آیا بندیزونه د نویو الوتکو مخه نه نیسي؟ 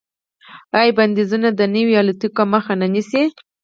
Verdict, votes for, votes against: rejected, 2, 4